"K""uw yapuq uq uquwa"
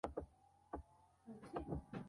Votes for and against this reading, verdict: 0, 2, rejected